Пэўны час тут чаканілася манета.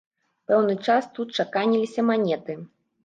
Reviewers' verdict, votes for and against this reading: rejected, 0, 2